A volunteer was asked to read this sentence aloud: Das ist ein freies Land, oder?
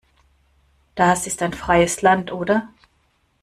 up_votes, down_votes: 1, 2